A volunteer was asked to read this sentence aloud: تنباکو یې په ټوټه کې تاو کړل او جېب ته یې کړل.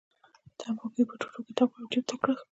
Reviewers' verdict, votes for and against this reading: accepted, 2, 1